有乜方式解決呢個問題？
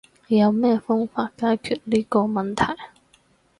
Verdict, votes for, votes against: rejected, 2, 2